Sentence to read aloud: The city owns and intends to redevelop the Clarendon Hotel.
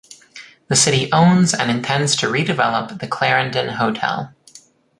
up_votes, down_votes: 2, 0